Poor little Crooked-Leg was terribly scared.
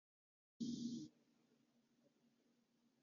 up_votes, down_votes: 0, 2